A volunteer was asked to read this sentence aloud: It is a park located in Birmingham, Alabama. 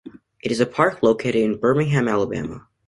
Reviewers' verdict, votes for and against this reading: accepted, 2, 0